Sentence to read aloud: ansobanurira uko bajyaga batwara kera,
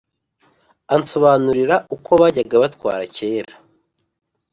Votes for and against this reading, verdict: 2, 0, accepted